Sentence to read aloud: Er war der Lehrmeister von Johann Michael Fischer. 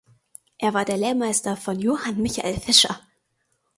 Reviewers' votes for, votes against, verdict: 4, 0, accepted